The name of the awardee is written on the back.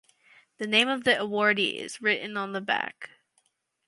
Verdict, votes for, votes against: accepted, 4, 0